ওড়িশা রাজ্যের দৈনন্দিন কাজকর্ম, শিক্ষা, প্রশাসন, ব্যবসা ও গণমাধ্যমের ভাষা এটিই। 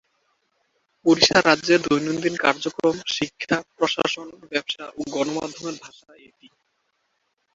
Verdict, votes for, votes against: rejected, 0, 2